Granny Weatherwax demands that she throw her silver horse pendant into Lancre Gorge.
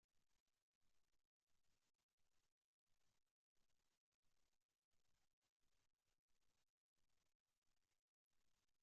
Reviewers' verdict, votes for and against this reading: rejected, 0, 2